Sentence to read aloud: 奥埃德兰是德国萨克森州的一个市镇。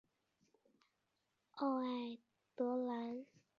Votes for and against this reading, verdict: 1, 2, rejected